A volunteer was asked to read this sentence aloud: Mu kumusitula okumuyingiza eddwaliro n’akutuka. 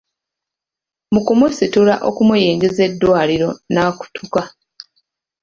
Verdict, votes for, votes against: accepted, 2, 0